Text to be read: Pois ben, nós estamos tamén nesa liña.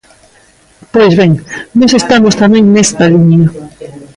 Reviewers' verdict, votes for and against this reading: rejected, 0, 2